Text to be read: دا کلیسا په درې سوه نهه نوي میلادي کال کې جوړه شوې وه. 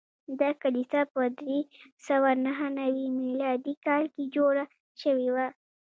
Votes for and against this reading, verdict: 2, 0, accepted